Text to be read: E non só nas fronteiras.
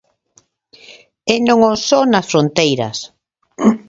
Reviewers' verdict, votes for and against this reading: rejected, 1, 2